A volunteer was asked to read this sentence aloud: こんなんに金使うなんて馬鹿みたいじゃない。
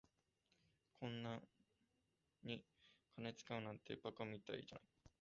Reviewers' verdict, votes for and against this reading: rejected, 0, 2